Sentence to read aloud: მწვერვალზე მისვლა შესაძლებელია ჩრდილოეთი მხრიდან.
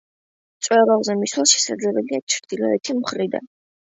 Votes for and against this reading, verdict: 2, 0, accepted